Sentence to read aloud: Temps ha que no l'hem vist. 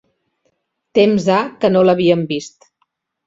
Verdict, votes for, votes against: rejected, 0, 2